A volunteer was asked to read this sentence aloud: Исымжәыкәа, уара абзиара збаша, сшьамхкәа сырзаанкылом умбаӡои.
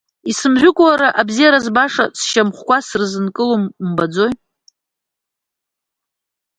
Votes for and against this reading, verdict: 2, 1, accepted